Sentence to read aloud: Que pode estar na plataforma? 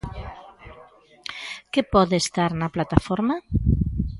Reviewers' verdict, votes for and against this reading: accepted, 2, 0